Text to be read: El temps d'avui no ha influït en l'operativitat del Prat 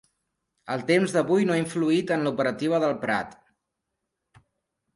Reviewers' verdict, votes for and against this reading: rejected, 0, 2